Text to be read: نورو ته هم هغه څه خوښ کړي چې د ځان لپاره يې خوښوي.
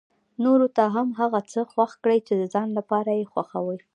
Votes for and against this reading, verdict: 1, 2, rejected